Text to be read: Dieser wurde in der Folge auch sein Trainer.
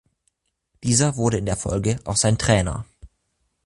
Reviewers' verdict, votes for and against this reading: accepted, 2, 0